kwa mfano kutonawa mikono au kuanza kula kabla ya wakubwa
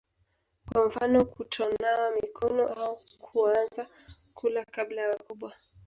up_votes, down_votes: 1, 2